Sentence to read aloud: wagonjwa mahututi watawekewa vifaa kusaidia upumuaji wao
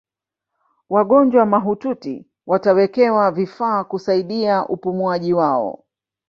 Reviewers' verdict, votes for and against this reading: rejected, 0, 2